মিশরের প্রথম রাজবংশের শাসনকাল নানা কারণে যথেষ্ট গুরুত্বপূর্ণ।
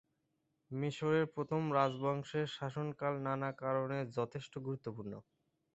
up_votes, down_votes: 8, 2